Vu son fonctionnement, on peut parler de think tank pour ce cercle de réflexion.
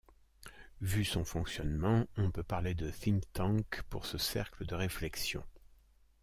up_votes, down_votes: 2, 0